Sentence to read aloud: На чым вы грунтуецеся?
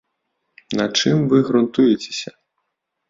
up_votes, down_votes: 2, 0